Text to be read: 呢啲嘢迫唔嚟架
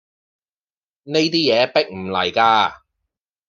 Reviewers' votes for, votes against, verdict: 2, 0, accepted